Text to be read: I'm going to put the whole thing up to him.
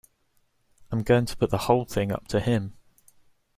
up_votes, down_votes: 2, 0